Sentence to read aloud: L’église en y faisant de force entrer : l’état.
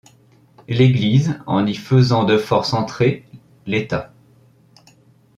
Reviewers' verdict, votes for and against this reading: accepted, 2, 0